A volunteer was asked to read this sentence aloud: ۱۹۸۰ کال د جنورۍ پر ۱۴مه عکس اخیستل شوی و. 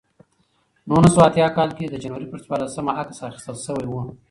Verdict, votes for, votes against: rejected, 0, 2